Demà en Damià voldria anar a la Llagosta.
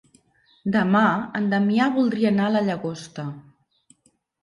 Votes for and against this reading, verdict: 3, 0, accepted